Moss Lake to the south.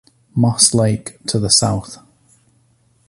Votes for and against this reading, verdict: 2, 0, accepted